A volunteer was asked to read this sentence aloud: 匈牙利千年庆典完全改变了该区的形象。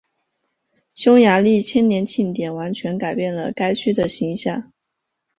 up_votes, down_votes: 1, 2